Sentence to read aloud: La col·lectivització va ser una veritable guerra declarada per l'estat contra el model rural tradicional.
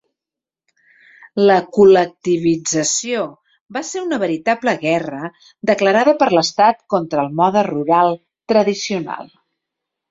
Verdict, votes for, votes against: rejected, 0, 2